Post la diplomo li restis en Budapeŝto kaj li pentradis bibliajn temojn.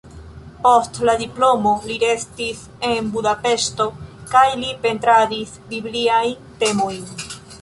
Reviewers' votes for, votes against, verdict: 0, 2, rejected